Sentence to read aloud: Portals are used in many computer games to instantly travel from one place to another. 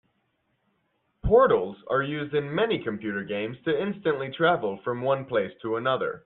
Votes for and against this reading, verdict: 2, 0, accepted